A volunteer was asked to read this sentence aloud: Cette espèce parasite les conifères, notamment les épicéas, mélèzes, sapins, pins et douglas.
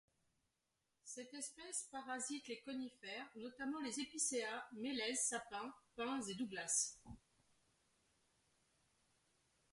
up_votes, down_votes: 1, 2